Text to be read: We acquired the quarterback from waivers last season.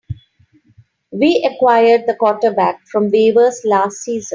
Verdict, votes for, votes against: rejected, 2, 3